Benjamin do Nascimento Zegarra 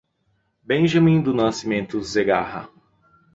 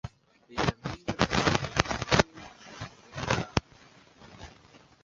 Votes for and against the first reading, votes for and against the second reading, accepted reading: 2, 0, 0, 2, first